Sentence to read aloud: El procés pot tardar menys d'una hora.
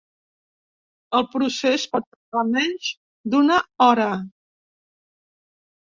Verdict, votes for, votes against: rejected, 1, 2